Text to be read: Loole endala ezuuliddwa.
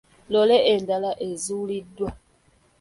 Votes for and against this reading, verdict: 2, 1, accepted